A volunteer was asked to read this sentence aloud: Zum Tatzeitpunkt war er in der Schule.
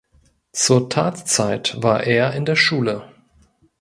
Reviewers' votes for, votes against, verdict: 0, 2, rejected